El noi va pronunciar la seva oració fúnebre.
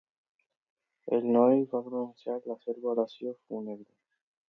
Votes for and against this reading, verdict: 2, 0, accepted